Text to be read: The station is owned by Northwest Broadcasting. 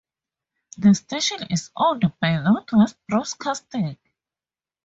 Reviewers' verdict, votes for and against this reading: rejected, 0, 4